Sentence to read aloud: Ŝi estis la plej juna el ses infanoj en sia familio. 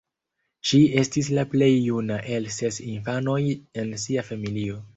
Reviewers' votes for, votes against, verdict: 2, 1, accepted